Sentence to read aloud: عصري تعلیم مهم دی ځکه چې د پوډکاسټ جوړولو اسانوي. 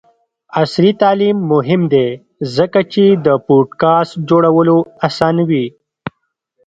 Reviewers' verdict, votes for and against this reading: accepted, 2, 0